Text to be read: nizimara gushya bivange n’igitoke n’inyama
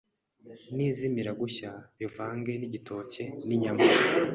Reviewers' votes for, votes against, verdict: 2, 3, rejected